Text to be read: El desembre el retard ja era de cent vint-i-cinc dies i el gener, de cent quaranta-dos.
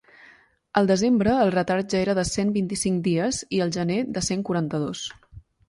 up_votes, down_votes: 2, 0